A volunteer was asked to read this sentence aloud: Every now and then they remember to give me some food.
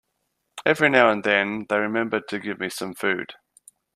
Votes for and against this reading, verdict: 2, 0, accepted